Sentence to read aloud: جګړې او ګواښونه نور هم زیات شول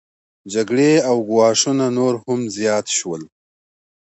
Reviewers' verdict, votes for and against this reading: accepted, 2, 0